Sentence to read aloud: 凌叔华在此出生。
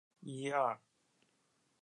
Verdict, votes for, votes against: rejected, 0, 2